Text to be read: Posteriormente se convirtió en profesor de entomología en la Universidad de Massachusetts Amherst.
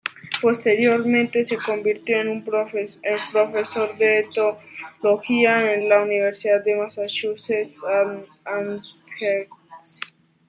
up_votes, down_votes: 0, 2